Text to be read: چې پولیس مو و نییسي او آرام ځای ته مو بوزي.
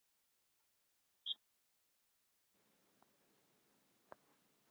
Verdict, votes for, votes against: rejected, 0, 2